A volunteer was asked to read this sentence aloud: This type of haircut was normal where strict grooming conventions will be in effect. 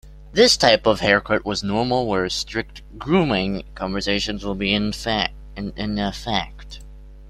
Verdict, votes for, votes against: rejected, 0, 2